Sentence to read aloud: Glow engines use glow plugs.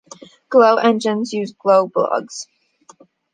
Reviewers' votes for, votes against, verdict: 1, 2, rejected